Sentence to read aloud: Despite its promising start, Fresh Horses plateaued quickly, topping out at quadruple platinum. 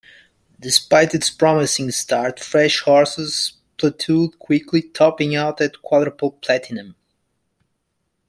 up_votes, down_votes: 3, 1